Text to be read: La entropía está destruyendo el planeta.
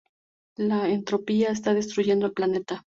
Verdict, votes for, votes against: accepted, 2, 0